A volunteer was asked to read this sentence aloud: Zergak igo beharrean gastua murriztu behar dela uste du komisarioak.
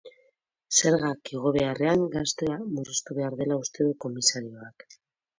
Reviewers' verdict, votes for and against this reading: rejected, 1, 2